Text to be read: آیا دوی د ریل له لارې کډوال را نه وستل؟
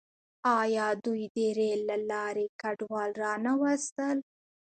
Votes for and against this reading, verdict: 2, 1, accepted